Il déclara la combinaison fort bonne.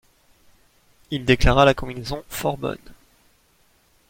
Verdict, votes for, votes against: accepted, 2, 0